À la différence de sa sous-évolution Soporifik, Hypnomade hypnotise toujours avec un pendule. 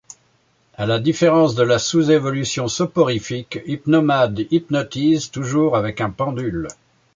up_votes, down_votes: 1, 2